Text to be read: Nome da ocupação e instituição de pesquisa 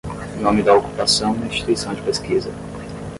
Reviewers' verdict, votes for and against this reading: rejected, 5, 5